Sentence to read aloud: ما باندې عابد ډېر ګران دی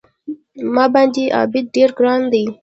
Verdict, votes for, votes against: rejected, 1, 2